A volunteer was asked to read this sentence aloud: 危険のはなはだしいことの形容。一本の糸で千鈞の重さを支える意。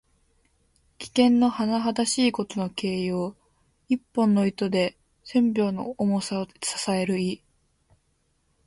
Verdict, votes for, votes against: accepted, 2, 0